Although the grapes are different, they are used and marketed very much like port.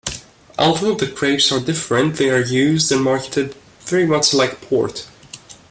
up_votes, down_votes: 2, 0